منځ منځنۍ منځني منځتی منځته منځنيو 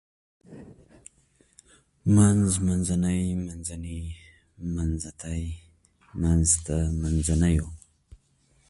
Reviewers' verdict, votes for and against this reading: accepted, 2, 0